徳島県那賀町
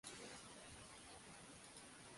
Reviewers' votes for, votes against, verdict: 0, 2, rejected